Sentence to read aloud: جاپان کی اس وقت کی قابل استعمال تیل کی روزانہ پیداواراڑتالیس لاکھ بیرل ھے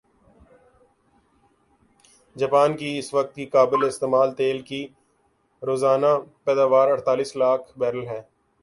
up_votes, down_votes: 3, 3